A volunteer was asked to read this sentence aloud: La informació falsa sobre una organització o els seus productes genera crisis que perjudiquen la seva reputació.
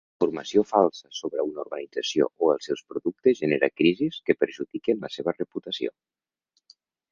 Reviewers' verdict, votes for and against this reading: rejected, 0, 2